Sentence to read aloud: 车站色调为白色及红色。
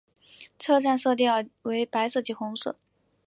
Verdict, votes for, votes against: accepted, 2, 0